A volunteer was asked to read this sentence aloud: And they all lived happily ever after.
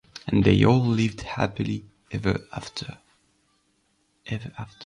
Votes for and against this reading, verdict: 1, 2, rejected